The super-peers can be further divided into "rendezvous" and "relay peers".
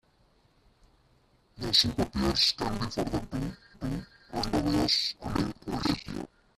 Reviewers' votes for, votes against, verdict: 0, 2, rejected